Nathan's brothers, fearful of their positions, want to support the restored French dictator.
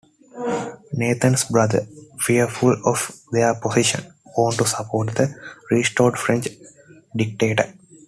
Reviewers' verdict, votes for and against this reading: accepted, 2, 1